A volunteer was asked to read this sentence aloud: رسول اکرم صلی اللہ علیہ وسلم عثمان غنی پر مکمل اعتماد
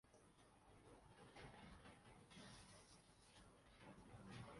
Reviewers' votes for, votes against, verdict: 0, 2, rejected